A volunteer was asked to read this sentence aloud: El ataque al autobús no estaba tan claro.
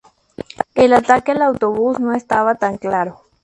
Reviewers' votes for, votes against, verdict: 2, 0, accepted